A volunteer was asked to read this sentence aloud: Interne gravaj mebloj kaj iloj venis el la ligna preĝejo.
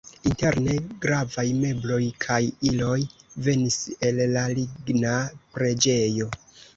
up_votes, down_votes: 2, 0